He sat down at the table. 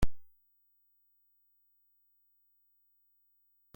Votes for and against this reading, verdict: 0, 2, rejected